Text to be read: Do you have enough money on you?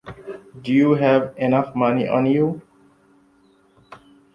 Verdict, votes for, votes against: accepted, 2, 0